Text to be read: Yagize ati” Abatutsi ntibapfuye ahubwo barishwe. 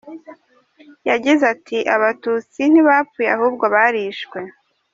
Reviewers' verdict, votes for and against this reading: accepted, 3, 0